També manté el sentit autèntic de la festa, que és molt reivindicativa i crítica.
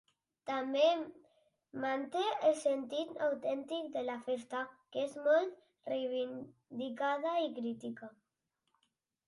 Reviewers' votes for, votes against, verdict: 1, 3, rejected